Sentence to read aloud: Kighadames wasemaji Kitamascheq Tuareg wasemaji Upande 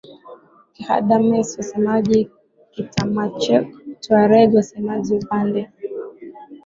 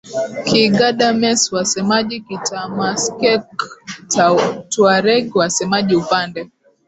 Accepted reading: first